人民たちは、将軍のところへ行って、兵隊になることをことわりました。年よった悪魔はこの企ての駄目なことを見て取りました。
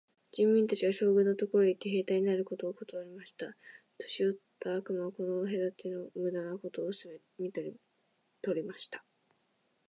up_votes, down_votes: 2, 1